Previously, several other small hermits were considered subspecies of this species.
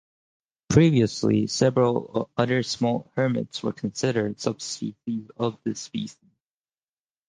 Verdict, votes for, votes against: rejected, 0, 4